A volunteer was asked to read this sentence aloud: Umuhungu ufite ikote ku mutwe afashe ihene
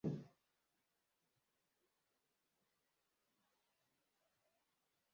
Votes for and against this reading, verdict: 0, 2, rejected